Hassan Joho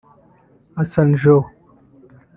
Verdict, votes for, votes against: rejected, 2, 3